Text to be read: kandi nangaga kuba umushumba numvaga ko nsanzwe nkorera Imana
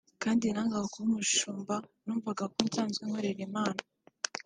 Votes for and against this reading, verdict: 2, 0, accepted